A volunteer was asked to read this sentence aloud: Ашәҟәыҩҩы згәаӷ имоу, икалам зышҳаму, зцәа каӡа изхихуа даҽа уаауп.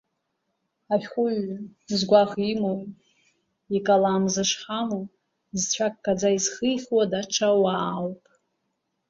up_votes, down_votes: 2, 1